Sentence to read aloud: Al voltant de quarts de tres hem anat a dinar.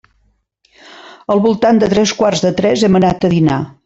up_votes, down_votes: 0, 2